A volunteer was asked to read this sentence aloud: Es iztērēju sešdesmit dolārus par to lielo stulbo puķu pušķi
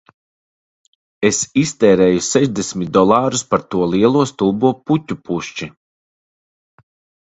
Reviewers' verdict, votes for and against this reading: accepted, 2, 0